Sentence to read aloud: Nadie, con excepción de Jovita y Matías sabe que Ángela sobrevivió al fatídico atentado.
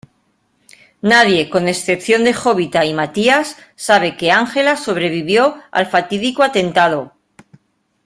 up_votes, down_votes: 2, 1